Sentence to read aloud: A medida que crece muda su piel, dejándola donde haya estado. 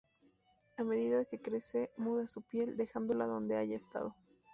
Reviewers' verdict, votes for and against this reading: rejected, 0, 2